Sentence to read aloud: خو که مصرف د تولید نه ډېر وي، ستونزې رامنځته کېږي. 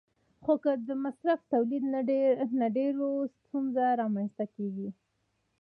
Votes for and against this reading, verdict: 0, 2, rejected